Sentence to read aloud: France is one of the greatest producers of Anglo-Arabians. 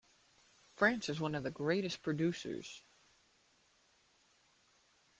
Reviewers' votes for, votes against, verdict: 0, 2, rejected